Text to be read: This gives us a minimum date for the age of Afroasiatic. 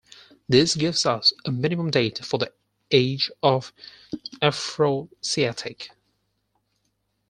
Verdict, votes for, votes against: rejected, 2, 4